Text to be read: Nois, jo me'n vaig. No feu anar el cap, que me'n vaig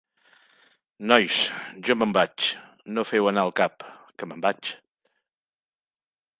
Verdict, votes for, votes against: accepted, 4, 0